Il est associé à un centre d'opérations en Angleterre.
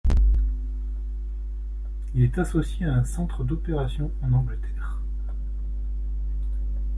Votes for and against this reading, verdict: 2, 0, accepted